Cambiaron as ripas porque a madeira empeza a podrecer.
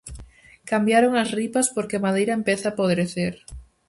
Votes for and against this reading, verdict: 4, 0, accepted